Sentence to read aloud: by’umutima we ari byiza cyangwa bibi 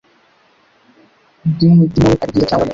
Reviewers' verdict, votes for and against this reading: rejected, 0, 2